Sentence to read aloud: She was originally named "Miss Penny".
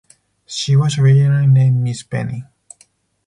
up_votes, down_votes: 0, 4